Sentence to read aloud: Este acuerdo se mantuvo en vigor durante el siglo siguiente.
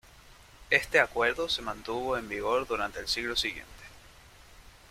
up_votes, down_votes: 2, 0